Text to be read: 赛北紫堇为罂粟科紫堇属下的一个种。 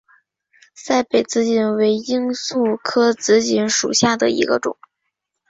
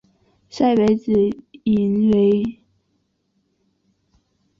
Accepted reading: first